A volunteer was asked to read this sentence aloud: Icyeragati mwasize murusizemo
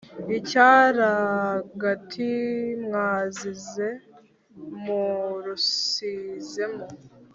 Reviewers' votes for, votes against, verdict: 1, 2, rejected